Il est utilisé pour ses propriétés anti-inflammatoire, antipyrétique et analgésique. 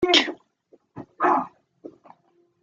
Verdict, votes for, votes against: rejected, 0, 2